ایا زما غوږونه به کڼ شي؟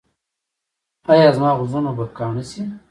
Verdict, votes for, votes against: rejected, 1, 2